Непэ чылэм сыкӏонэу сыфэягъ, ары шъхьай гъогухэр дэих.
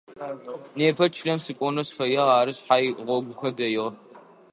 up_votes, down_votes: 1, 2